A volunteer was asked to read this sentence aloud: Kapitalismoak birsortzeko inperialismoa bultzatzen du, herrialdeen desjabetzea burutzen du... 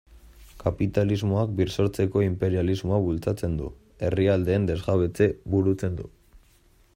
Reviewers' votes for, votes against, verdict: 2, 1, accepted